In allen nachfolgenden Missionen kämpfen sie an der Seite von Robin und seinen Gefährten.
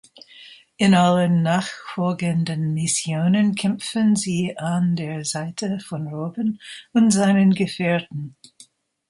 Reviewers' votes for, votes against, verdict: 1, 2, rejected